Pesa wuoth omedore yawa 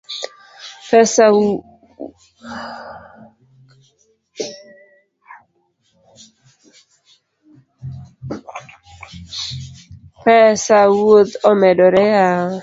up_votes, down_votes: 1, 2